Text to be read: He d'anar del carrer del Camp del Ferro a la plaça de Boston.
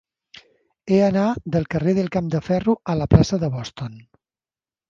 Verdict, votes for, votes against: accepted, 2, 1